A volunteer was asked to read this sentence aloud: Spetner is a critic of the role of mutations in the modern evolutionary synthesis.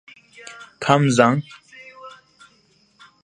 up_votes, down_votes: 0, 2